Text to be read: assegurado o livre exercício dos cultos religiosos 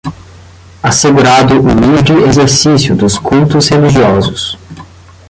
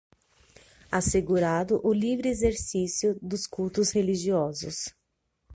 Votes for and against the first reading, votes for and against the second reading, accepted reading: 5, 10, 6, 0, second